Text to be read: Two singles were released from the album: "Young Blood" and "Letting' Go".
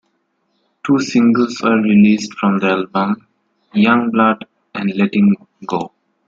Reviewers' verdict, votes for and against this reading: accepted, 2, 1